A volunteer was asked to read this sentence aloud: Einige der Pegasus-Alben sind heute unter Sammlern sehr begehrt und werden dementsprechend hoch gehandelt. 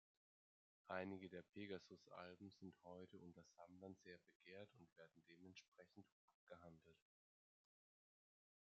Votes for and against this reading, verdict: 1, 2, rejected